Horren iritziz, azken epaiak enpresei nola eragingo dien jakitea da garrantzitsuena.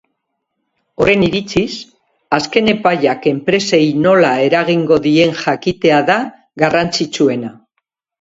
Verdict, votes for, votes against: accepted, 3, 0